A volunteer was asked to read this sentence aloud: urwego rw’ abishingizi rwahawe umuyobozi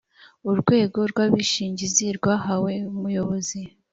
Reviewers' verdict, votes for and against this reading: accepted, 4, 0